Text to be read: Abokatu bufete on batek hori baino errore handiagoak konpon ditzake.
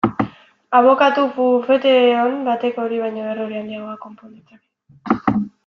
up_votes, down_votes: 2, 1